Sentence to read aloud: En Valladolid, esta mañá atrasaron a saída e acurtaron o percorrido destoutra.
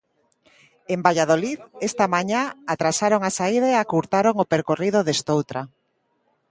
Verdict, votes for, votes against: accepted, 2, 0